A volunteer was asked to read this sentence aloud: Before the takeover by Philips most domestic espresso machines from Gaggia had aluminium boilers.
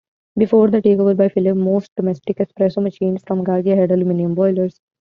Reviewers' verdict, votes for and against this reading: rejected, 1, 2